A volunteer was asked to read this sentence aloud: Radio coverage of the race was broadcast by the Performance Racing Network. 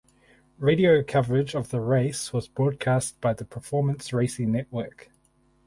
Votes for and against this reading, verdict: 4, 0, accepted